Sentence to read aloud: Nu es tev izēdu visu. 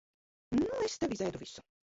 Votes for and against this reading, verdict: 1, 2, rejected